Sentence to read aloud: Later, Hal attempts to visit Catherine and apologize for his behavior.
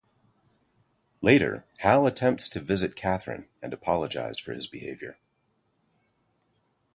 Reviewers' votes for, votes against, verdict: 2, 0, accepted